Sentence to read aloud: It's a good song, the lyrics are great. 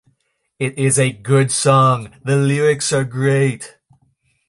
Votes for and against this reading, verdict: 2, 0, accepted